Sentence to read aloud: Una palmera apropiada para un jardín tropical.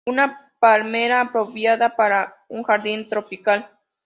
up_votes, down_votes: 2, 0